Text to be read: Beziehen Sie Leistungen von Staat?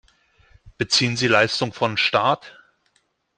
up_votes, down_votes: 2, 1